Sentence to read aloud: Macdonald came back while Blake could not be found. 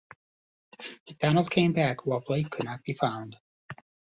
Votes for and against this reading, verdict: 1, 2, rejected